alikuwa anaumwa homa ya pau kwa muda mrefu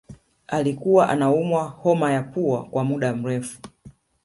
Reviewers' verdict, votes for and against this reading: accepted, 2, 0